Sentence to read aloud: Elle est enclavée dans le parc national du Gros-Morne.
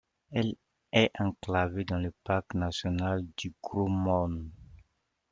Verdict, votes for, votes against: accepted, 2, 0